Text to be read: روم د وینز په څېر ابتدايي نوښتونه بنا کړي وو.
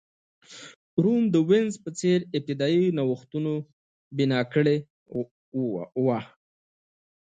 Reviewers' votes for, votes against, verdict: 2, 0, accepted